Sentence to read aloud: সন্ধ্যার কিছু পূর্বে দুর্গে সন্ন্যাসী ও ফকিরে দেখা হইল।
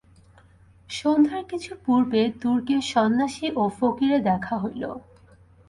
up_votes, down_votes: 2, 0